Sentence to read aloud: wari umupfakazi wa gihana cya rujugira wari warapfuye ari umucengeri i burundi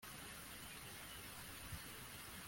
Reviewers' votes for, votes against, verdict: 0, 2, rejected